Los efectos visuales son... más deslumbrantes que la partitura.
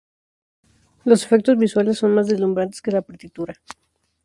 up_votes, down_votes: 2, 2